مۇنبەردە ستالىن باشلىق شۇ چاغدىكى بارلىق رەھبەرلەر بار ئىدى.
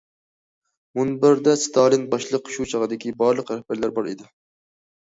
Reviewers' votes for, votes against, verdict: 2, 0, accepted